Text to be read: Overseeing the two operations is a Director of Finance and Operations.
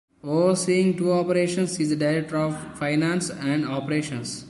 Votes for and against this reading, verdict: 1, 2, rejected